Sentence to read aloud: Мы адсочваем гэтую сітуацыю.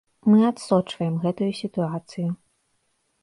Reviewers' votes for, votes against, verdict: 2, 0, accepted